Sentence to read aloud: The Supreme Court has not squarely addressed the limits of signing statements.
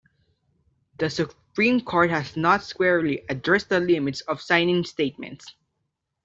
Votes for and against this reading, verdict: 2, 0, accepted